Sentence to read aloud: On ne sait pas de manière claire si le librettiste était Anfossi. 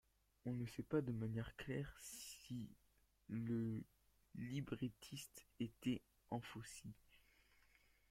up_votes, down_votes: 1, 2